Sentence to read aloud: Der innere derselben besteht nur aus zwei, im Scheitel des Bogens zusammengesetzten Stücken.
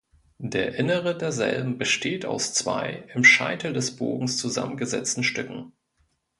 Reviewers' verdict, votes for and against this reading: rejected, 1, 2